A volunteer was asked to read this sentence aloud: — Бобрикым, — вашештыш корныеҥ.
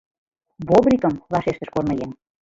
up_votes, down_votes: 3, 2